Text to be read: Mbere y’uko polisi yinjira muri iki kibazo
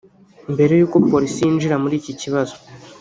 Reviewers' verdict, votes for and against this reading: rejected, 0, 2